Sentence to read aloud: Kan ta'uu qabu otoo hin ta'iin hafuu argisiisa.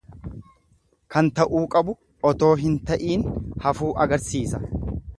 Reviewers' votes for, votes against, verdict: 1, 2, rejected